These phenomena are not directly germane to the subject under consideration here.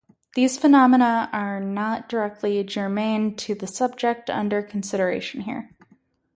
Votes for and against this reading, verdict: 2, 2, rejected